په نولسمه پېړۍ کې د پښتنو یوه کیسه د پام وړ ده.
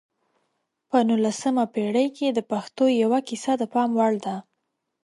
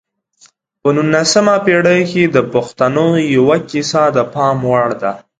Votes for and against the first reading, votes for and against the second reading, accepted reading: 0, 2, 2, 0, second